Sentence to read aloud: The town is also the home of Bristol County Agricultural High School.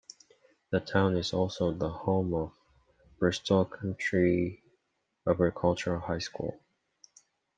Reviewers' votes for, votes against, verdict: 1, 3, rejected